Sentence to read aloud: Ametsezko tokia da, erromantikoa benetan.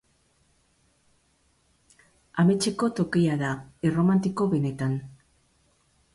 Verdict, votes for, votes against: rejected, 0, 2